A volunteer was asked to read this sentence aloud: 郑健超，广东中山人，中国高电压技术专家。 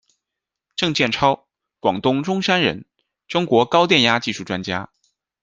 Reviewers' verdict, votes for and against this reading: accepted, 2, 0